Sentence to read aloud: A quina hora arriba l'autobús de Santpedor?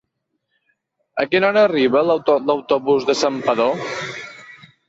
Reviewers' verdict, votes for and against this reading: rejected, 0, 2